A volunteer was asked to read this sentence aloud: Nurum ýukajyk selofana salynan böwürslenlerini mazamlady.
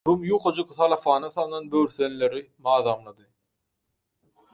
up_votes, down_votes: 2, 4